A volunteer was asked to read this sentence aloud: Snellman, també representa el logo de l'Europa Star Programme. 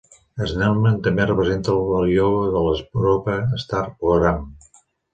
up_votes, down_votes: 1, 2